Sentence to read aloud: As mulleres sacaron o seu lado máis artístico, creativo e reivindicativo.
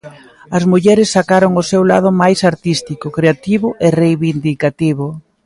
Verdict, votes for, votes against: accepted, 2, 0